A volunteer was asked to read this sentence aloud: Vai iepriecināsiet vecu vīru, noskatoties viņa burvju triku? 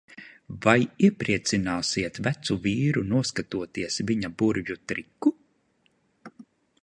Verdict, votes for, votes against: rejected, 0, 2